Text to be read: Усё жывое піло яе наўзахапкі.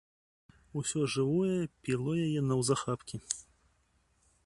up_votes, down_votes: 2, 0